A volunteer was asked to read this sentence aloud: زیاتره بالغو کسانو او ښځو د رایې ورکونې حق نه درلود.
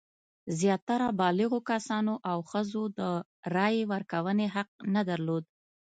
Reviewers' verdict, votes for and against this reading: accepted, 2, 0